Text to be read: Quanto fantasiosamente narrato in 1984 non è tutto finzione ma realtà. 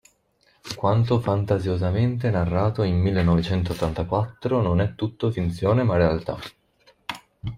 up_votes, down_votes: 0, 2